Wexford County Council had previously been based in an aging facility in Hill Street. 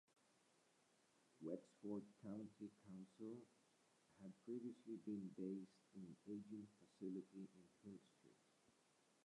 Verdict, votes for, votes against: rejected, 1, 2